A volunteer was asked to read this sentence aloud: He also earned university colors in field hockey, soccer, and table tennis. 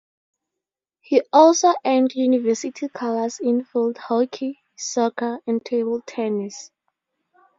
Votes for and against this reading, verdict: 2, 0, accepted